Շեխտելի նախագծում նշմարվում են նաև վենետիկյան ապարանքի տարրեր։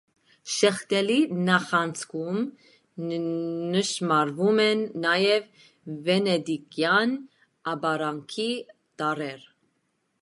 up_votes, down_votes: 0, 2